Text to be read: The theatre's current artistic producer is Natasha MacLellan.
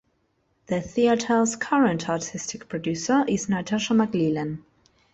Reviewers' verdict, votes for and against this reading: rejected, 1, 2